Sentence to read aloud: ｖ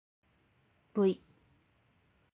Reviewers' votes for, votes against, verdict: 17, 2, accepted